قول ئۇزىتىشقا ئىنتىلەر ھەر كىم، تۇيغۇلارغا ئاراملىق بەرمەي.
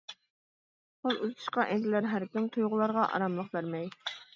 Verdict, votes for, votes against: rejected, 0, 2